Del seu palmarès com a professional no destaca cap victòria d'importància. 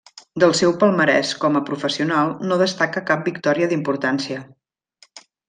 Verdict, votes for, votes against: accepted, 2, 0